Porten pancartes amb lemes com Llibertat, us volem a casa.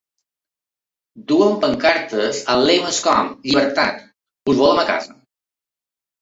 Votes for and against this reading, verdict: 0, 2, rejected